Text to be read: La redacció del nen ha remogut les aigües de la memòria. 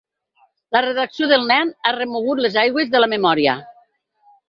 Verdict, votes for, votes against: accepted, 6, 0